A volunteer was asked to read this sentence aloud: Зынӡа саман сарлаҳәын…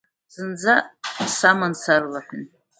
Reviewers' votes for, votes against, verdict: 2, 0, accepted